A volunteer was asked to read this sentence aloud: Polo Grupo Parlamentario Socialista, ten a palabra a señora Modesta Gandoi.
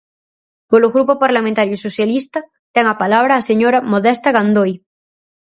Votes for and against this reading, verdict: 4, 0, accepted